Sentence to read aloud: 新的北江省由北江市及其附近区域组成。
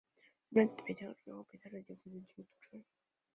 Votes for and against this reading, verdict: 0, 2, rejected